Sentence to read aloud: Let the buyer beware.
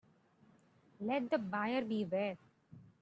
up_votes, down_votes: 2, 0